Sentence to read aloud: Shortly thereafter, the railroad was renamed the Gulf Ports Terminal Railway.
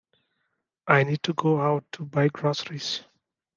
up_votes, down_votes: 0, 2